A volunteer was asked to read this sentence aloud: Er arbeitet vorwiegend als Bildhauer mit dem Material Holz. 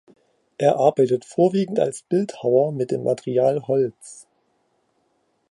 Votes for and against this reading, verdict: 2, 0, accepted